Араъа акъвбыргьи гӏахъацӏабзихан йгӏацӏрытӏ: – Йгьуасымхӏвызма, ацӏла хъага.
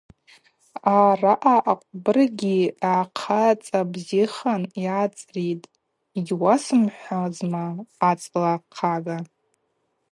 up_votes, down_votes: 0, 2